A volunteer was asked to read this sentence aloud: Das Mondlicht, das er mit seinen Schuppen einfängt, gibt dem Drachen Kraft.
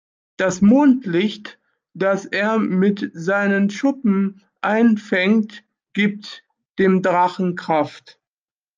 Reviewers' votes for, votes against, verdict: 2, 0, accepted